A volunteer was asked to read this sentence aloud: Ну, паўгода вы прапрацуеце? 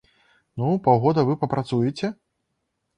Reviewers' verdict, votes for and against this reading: accepted, 2, 0